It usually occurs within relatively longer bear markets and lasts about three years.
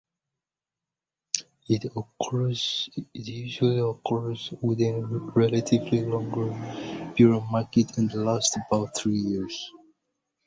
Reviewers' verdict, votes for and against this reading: rejected, 0, 2